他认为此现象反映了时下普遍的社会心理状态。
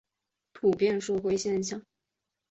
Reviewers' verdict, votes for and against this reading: rejected, 1, 4